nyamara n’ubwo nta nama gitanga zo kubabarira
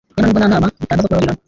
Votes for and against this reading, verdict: 0, 3, rejected